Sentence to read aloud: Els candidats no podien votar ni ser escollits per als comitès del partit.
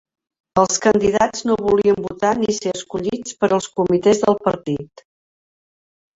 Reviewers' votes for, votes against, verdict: 1, 2, rejected